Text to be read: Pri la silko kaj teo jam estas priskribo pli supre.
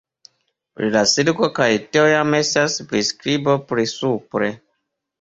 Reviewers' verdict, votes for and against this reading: rejected, 1, 2